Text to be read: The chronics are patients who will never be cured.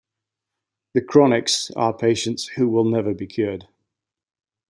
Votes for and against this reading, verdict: 2, 0, accepted